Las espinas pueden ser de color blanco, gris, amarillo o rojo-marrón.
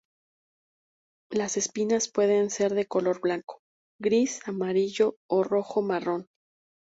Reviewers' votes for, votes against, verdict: 4, 0, accepted